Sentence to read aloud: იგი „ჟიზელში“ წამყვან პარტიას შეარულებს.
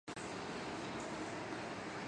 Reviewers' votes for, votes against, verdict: 1, 2, rejected